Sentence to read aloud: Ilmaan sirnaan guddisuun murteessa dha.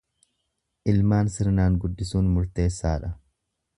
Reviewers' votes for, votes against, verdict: 2, 0, accepted